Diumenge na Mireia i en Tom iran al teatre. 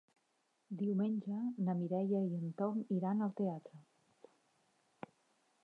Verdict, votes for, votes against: rejected, 0, 2